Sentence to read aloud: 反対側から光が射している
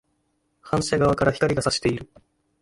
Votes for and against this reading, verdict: 1, 2, rejected